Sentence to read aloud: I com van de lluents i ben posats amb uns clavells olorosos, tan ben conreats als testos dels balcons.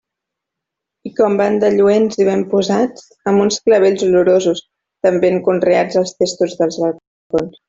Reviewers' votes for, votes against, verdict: 0, 2, rejected